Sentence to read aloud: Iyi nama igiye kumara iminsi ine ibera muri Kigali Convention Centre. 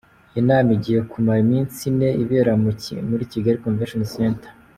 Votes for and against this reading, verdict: 2, 0, accepted